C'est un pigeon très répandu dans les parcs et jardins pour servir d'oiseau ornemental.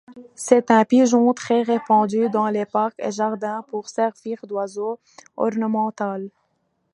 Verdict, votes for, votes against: accepted, 2, 0